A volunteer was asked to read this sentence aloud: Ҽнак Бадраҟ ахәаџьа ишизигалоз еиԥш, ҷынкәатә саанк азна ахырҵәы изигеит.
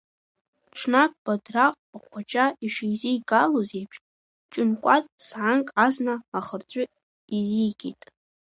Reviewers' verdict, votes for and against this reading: rejected, 1, 2